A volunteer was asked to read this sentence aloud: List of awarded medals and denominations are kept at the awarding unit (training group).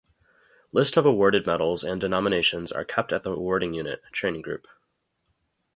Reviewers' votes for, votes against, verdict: 0, 2, rejected